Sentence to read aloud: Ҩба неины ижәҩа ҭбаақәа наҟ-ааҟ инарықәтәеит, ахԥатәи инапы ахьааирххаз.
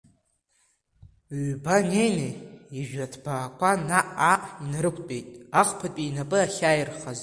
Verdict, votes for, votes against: rejected, 0, 2